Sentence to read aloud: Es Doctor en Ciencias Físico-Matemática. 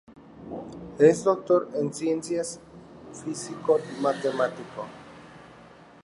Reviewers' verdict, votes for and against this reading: rejected, 0, 2